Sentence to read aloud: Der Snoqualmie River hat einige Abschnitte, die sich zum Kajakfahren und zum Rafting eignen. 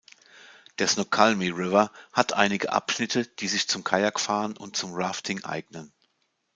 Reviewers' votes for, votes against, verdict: 2, 0, accepted